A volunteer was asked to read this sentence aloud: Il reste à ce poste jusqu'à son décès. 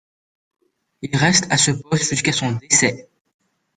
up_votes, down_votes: 1, 3